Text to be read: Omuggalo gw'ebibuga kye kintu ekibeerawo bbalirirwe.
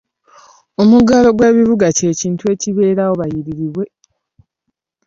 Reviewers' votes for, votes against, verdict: 1, 2, rejected